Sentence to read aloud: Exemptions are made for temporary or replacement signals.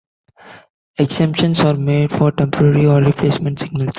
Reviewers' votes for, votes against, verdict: 2, 0, accepted